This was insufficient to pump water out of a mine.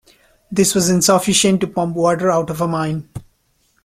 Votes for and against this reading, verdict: 3, 1, accepted